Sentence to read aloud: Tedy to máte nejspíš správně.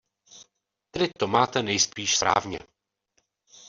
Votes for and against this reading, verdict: 0, 2, rejected